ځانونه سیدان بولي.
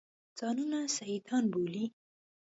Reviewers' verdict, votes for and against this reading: accepted, 2, 0